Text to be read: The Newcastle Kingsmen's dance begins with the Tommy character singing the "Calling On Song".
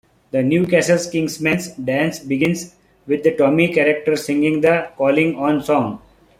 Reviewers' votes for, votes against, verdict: 2, 0, accepted